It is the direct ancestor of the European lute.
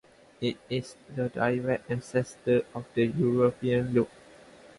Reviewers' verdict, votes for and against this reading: accepted, 2, 0